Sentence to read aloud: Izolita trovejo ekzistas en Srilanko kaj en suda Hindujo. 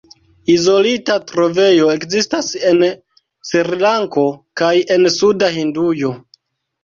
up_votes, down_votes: 2, 1